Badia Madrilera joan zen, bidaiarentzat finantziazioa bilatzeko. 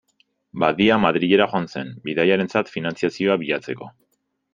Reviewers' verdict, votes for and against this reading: accepted, 2, 0